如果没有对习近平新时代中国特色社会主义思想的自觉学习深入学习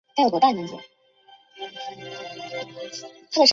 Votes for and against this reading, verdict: 1, 2, rejected